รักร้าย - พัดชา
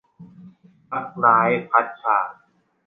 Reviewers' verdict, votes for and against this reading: accepted, 2, 0